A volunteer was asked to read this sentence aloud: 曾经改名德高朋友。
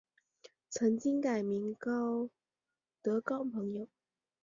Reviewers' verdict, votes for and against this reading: rejected, 2, 3